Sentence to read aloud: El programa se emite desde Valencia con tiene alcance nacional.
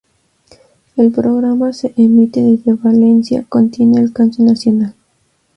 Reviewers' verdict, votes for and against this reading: accepted, 2, 0